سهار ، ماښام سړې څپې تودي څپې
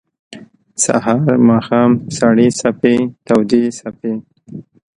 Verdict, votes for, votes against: accepted, 3, 0